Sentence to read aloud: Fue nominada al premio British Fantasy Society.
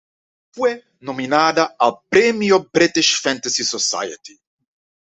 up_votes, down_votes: 2, 0